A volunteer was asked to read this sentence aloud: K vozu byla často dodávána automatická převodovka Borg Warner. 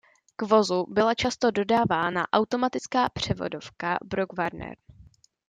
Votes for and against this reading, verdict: 0, 2, rejected